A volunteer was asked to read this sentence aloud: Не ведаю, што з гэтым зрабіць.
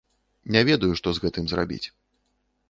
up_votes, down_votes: 2, 0